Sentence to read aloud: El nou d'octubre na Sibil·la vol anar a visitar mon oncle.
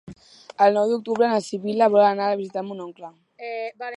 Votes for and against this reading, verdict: 1, 2, rejected